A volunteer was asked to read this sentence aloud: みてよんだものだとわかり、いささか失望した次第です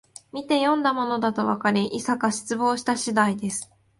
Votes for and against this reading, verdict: 0, 2, rejected